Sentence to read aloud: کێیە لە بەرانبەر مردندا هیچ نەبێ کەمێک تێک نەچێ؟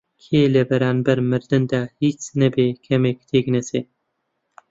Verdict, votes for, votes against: accepted, 2, 0